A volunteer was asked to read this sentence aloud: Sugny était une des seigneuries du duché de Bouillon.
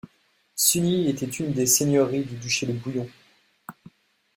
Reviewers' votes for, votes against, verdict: 2, 0, accepted